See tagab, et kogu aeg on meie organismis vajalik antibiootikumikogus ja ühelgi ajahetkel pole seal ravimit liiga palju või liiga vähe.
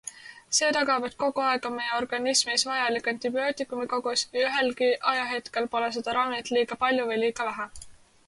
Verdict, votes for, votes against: accepted, 2, 0